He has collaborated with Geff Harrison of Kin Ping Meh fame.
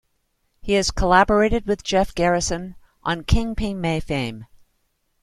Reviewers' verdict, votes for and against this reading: rejected, 1, 2